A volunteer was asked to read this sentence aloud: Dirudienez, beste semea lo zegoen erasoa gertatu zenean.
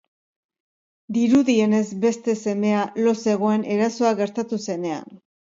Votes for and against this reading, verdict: 2, 0, accepted